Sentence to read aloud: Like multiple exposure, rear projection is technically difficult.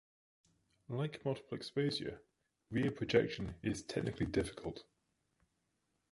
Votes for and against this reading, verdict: 2, 0, accepted